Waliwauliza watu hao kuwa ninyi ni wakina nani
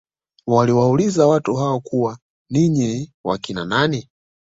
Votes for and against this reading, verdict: 2, 0, accepted